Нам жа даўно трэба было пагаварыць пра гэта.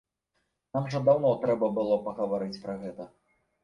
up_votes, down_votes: 2, 0